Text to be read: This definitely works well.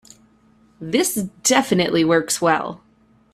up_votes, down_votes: 2, 0